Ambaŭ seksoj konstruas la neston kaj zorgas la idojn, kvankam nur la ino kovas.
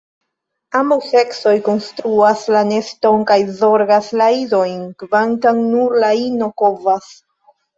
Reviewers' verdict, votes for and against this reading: accepted, 2, 0